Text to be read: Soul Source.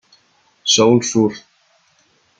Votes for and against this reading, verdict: 0, 2, rejected